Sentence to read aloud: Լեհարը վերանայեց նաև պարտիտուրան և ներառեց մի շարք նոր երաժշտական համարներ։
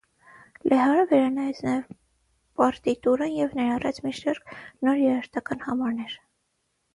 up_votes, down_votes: 0, 6